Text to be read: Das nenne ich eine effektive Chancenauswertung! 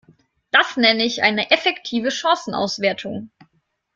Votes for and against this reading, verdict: 2, 0, accepted